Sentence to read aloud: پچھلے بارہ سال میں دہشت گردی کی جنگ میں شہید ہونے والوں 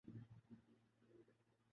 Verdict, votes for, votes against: rejected, 0, 2